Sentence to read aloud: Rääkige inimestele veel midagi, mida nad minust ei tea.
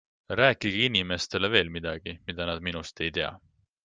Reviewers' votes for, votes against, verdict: 2, 0, accepted